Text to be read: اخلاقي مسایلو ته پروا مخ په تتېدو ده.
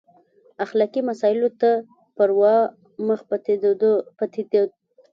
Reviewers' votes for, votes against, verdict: 1, 2, rejected